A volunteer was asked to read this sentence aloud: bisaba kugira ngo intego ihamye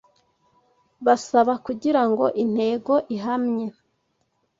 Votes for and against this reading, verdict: 0, 2, rejected